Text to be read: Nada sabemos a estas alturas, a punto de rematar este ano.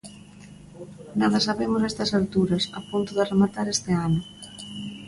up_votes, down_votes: 2, 0